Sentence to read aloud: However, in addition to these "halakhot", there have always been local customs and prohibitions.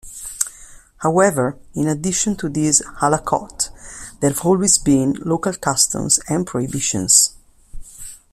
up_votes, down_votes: 1, 2